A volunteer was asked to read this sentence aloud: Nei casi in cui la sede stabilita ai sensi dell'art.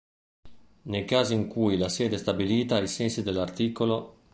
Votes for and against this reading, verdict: 1, 2, rejected